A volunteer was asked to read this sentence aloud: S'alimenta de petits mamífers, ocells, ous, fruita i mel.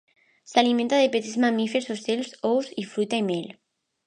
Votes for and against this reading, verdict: 0, 2, rejected